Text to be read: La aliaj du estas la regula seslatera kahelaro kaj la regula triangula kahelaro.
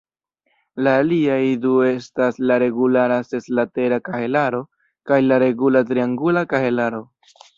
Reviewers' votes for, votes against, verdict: 1, 2, rejected